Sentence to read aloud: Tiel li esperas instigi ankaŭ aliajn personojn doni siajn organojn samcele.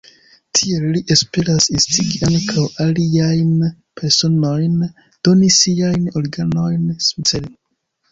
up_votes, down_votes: 1, 2